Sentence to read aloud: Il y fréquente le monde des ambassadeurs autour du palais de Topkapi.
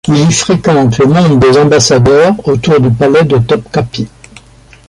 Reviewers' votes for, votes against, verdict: 2, 1, accepted